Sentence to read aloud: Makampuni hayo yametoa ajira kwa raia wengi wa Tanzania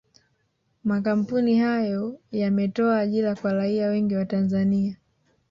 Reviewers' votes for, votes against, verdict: 2, 0, accepted